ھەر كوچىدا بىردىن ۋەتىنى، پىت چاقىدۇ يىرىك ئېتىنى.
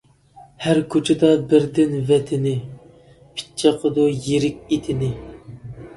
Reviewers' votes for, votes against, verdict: 2, 0, accepted